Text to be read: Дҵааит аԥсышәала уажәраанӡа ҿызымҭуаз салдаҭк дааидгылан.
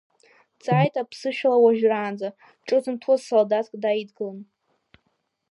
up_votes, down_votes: 1, 2